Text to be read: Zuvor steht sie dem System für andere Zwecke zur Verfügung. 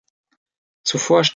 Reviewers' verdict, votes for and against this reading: rejected, 0, 2